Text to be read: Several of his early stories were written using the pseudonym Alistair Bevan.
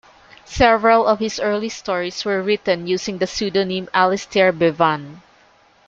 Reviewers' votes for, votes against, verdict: 2, 0, accepted